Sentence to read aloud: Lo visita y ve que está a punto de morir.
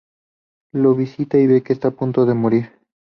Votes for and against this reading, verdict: 2, 0, accepted